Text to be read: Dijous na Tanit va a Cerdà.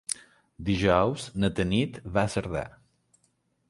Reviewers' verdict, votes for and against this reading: accepted, 3, 0